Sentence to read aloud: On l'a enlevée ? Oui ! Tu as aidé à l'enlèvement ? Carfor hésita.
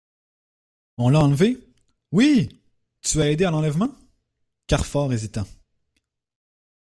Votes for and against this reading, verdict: 2, 0, accepted